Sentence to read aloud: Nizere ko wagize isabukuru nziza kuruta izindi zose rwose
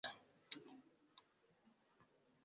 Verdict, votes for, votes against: rejected, 0, 2